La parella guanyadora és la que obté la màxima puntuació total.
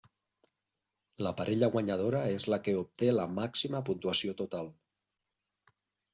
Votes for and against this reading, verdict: 3, 0, accepted